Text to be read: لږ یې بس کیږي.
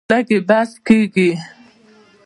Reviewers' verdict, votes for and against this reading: accepted, 2, 0